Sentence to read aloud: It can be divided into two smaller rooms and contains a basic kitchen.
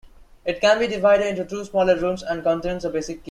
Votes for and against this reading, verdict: 1, 2, rejected